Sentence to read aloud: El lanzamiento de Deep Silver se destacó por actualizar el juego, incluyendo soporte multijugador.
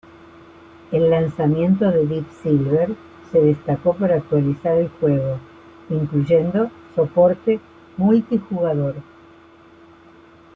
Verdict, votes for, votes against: accepted, 2, 0